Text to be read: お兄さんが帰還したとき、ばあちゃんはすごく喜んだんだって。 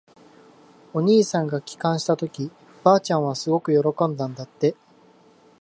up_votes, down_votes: 2, 1